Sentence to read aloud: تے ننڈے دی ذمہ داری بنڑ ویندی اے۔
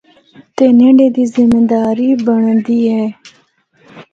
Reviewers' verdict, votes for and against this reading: rejected, 0, 2